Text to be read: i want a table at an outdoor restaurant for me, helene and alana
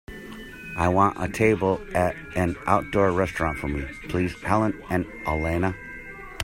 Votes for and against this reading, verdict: 0, 2, rejected